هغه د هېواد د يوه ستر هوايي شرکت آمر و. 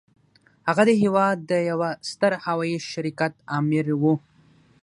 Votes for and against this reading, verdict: 3, 0, accepted